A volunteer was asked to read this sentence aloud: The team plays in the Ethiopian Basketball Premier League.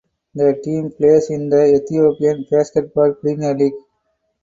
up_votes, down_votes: 4, 2